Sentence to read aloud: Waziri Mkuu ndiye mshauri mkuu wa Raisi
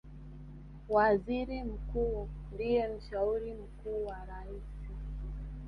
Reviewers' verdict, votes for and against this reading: accepted, 3, 2